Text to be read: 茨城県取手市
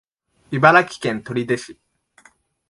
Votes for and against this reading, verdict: 5, 0, accepted